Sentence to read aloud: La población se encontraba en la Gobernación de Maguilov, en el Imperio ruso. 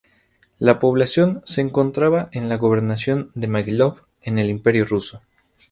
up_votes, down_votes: 2, 0